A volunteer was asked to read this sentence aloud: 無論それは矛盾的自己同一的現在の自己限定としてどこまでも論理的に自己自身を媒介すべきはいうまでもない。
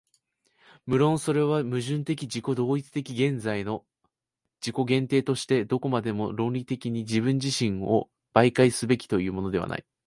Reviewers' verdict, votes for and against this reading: rejected, 1, 2